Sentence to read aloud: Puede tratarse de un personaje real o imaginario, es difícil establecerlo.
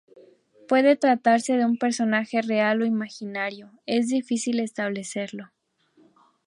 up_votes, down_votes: 4, 0